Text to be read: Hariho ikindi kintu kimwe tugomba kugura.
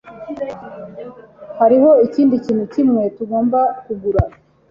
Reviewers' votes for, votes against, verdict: 2, 0, accepted